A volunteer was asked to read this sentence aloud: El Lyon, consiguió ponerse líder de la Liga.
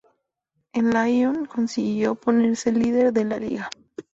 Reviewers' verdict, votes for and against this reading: accepted, 2, 0